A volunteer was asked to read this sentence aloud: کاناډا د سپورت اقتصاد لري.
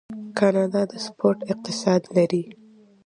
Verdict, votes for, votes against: accepted, 2, 0